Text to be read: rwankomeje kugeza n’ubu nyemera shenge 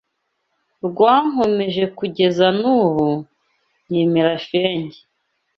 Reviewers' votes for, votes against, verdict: 2, 0, accepted